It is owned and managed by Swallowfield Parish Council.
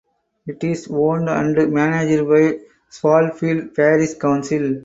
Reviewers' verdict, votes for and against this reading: rejected, 0, 2